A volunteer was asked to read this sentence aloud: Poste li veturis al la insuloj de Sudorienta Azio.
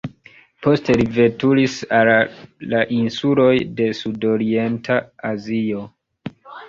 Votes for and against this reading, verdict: 1, 2, rejected